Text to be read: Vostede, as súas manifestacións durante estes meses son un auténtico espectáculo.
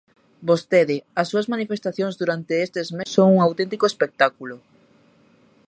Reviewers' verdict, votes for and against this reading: rejected, 0, 2